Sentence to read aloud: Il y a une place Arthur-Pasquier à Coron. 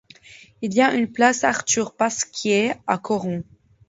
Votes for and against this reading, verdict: 2, 0, accepted